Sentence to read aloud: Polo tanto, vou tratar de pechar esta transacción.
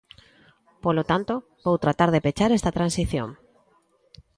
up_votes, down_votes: 0, 2